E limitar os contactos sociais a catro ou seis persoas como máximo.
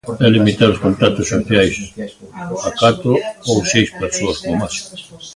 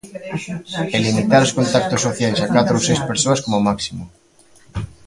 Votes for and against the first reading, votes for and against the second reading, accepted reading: 0, 2, 2, 0, second